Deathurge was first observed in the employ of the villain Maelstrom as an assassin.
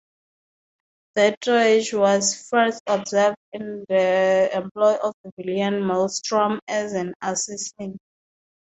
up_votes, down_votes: 0, 2